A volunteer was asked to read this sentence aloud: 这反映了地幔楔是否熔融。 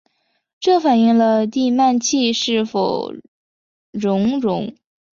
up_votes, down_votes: 2, 1